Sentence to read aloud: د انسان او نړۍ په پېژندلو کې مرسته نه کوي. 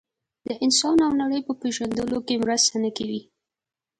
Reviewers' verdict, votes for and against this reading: accepted, 2, 0